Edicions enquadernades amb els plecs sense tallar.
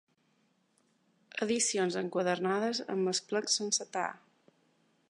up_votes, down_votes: 0, 2